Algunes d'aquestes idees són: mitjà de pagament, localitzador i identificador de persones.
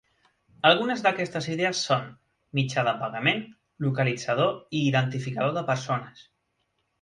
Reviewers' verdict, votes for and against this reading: accepted, 2, 0